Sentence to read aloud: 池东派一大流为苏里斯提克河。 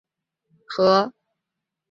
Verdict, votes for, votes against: rejected, 1, 4